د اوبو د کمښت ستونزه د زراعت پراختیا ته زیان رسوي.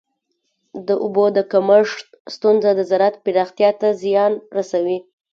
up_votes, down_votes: 1, 2